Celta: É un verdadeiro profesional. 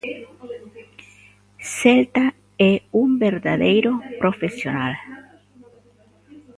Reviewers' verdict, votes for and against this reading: accepted, 2, 0